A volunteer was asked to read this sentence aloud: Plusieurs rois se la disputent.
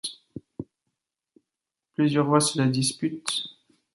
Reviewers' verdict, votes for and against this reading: accepted, 2, 0